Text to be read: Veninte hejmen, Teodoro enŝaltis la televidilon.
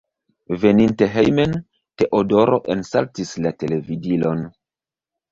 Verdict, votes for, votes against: rejected, 0, 2